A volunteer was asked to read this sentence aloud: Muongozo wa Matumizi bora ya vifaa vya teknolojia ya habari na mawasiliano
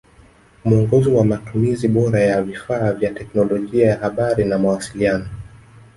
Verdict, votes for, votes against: rejected, 0, 2